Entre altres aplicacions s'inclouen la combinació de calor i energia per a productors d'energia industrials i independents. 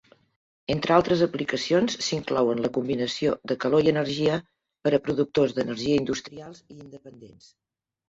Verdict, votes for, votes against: rejected, 1, 2